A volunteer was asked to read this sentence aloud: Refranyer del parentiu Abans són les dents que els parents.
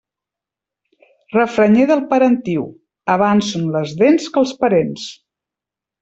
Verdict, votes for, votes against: accepted, 2, 0